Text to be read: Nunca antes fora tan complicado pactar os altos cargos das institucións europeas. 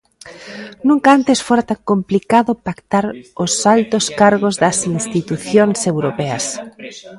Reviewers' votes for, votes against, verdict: 0, 2, rejected